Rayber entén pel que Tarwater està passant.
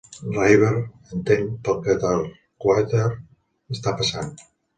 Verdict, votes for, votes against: rejected, 0, 2